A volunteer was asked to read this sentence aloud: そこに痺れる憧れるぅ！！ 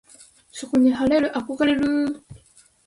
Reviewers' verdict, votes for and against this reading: rejected, 3, 3